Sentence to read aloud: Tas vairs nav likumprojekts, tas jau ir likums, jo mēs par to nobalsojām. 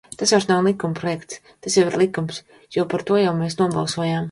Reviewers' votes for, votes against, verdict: 0, 2, rejected